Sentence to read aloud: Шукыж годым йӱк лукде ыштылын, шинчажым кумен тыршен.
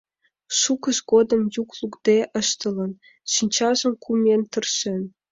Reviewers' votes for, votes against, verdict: 2, 0, accepted